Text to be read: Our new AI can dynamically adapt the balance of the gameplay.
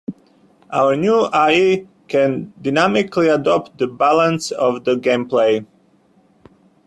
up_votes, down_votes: 0, 2